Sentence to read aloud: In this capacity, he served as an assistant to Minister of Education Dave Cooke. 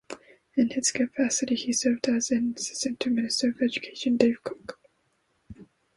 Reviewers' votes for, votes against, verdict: 2, 0, accepted